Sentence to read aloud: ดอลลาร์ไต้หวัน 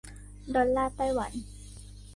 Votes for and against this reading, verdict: 2, 0, accepted